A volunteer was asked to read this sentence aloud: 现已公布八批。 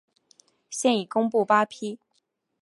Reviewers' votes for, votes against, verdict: 2, 0, accepted